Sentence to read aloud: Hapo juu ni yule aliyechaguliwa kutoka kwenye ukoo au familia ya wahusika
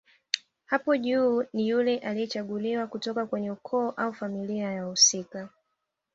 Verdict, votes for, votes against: accepted, 2, 1